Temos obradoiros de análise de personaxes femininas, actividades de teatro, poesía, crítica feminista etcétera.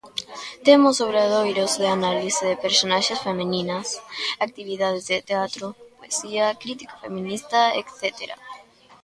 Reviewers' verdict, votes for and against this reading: accepted, 3, 0